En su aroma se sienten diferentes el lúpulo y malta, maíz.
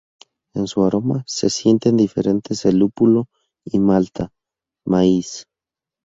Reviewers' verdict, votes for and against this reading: accepted, 2, 0